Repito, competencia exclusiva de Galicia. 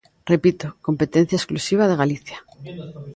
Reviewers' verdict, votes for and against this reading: accepted, 2, 0